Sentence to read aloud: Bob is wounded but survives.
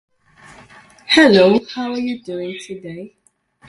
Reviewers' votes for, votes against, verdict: 0, 2, rejected